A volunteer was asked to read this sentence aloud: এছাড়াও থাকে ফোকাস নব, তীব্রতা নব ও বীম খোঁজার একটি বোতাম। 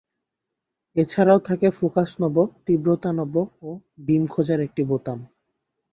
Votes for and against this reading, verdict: 2, 0, accepted